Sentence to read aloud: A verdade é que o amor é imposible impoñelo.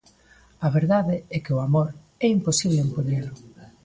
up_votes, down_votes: 2, 1